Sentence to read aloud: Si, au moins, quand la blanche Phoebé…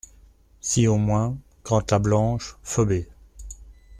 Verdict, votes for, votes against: rejected, 1, 2